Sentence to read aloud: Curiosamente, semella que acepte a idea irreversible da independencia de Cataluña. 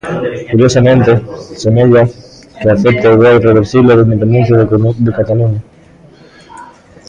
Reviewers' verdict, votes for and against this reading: rejected, 0, 2